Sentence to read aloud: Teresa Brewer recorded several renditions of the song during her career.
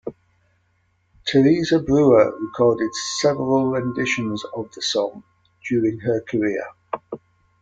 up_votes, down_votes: 2, 1